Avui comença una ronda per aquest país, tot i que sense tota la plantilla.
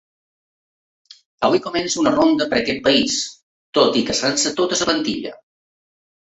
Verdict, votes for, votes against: rejected, 0, 4